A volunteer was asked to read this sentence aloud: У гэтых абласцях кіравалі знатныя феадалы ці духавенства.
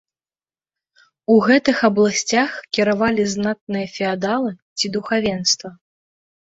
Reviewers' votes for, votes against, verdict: 2, 0, accepted